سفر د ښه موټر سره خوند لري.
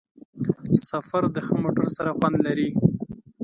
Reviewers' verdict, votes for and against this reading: accepted, 2, 0